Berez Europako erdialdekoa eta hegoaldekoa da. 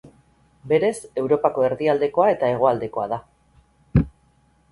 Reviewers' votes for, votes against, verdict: 8, 0, accepted